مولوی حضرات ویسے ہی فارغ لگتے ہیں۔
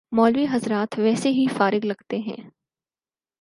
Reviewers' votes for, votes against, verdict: 4, 0, accepted